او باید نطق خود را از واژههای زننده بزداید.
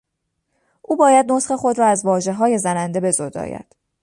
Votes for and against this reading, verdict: 2, 0, accepted